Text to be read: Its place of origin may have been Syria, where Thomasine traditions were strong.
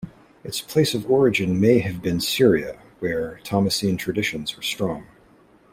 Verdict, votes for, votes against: accepted, 2, 0